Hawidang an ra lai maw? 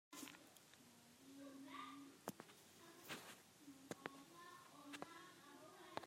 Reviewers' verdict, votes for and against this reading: rejected, 0, 2